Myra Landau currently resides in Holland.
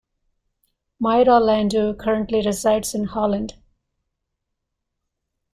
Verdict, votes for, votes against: rejected, 1, 2